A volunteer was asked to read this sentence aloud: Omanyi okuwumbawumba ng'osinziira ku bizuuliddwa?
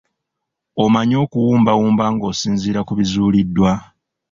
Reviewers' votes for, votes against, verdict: 2, 0, accepted